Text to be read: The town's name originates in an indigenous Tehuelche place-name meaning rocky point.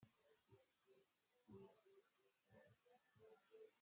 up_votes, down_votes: 0, 2